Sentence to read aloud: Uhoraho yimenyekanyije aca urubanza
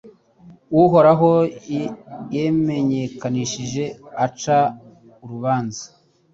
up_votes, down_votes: 1, 2